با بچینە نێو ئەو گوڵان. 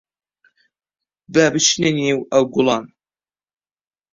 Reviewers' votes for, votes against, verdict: 1, 2, rejected